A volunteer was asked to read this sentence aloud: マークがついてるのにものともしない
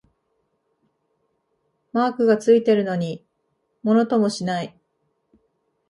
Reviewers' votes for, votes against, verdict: 2, 0, accepted